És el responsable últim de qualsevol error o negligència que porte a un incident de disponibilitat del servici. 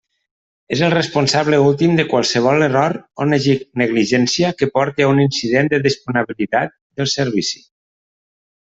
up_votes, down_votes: 1, 2